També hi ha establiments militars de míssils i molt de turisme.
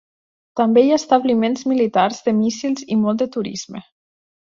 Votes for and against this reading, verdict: 5, 0, accepted